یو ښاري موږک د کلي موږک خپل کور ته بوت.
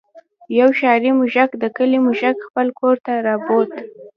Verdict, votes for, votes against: rejected, 0, 2